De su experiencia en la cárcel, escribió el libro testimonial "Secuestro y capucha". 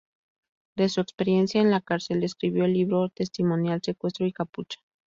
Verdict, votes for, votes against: accepted, 2, 0